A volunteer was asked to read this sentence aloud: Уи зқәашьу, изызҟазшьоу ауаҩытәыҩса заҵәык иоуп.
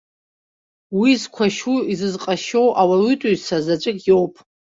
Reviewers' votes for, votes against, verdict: 2, 3, rejected